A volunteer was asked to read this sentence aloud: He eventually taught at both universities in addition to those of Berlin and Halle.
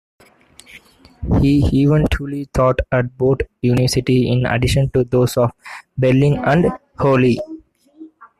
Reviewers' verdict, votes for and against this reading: rejected, 0, 2